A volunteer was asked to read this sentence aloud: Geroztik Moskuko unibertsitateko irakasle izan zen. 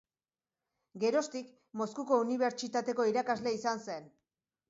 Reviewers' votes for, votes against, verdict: 2, 0, accepted